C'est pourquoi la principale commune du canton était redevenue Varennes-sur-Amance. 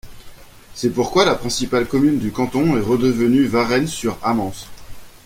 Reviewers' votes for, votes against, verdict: 1, 2, rejected